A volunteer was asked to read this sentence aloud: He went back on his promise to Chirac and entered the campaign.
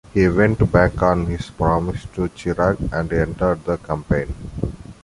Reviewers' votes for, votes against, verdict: 2, 0, accepted